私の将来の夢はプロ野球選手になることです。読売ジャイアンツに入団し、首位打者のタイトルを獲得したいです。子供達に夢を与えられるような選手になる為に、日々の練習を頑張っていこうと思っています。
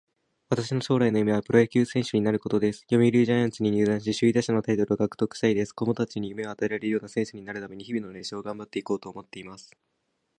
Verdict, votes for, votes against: accepted, 2, 0